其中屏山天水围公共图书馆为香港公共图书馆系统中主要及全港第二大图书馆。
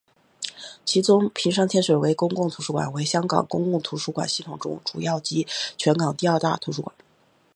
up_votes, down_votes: 4, 1